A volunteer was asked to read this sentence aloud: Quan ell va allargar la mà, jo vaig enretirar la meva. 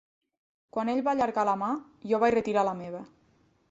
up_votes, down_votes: 0, 2